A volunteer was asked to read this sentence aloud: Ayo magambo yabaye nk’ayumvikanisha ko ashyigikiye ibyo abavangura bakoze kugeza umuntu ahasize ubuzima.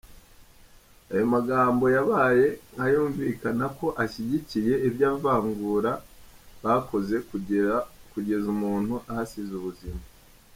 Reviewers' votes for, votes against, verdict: 1, 2, rejected